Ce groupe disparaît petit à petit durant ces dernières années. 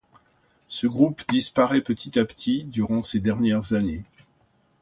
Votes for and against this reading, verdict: 2, 0, accepted